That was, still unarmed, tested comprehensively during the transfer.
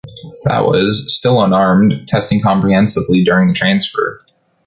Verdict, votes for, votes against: rejected, 1, 2